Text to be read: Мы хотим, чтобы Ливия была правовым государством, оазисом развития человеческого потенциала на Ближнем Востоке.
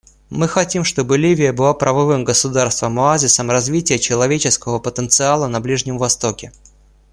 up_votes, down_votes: 2, 0